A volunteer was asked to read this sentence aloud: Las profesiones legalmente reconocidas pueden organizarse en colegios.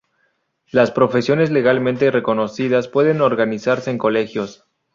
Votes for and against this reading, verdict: 0, 2, rejected